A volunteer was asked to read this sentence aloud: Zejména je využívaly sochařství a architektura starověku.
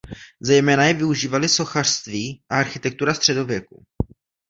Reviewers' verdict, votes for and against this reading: rejected, 0, 2